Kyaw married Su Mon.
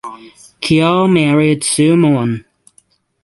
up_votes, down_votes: 6, 0